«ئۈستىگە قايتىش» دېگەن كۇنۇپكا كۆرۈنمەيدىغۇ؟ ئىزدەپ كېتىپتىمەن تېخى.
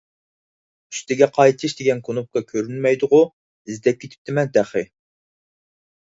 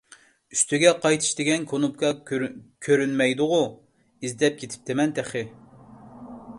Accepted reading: first